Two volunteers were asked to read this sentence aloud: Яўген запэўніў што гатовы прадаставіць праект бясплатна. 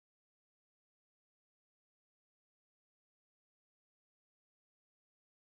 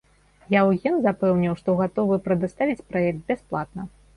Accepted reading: second